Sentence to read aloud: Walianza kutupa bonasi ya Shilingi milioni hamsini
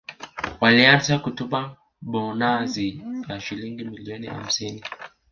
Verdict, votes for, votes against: rejected, 1, 2